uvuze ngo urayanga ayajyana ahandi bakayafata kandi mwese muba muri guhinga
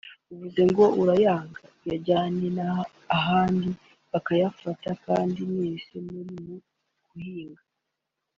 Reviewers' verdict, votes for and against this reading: rejected, 1, 2